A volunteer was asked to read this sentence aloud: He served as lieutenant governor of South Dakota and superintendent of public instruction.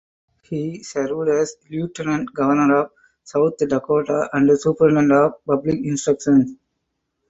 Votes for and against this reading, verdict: 0, 4, rejected